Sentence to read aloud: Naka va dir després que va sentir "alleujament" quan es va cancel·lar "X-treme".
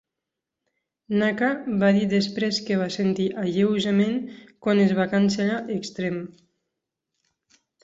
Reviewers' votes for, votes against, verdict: 0, 4, rejected